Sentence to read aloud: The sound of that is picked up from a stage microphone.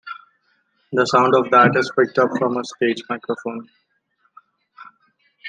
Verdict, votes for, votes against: accepted, 2, 0